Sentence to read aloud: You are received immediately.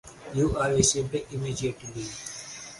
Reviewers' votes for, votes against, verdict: 4, 0, accepted